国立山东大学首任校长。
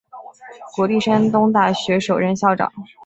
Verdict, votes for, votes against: accepted, 6, 0